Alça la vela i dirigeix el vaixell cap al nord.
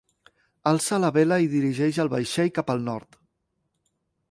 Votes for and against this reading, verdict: 2, 0, accepted